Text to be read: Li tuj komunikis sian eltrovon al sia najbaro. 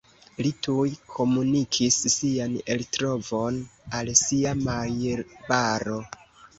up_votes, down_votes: 1, 2